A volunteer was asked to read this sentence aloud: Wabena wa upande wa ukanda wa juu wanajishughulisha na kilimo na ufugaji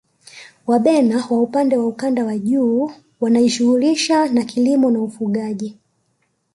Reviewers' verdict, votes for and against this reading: rejected, 2, 3